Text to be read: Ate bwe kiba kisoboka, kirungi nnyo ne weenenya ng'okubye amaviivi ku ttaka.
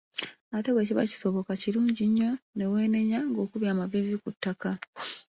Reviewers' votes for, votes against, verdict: 3, 0, accepted